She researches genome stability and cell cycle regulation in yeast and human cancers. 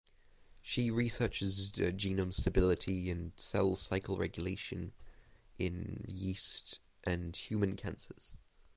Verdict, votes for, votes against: rejected, 3, 6